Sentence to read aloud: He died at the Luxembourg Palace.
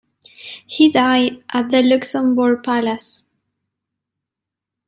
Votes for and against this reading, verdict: 2, 0, accepted